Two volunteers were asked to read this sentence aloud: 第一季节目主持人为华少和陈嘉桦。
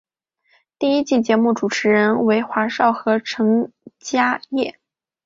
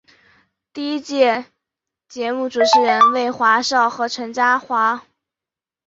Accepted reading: first